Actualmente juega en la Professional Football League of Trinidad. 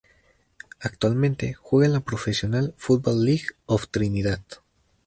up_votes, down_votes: 2, 0